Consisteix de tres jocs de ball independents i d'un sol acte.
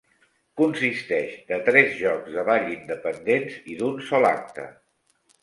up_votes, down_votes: 3, 0